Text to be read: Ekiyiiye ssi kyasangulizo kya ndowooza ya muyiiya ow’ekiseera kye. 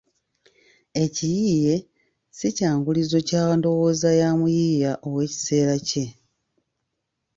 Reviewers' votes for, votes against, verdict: 0, 2, rejected